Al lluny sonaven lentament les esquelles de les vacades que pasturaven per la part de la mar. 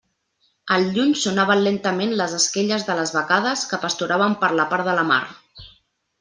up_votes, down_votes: 2, 0